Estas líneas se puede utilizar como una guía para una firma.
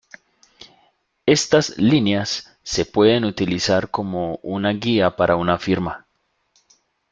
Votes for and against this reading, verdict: 2, 0, accepted